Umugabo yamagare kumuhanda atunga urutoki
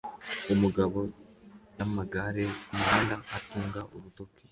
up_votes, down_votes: 2, 0